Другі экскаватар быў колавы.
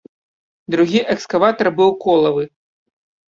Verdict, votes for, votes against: accepted, 2, 0